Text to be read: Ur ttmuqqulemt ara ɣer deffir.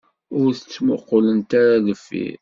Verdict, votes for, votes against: rejected, 0, 2